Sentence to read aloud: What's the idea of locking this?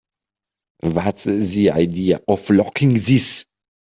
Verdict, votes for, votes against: rejected, 3, 4